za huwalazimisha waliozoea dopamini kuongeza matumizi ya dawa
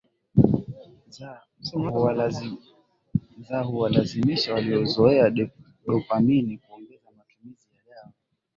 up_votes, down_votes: 4, 13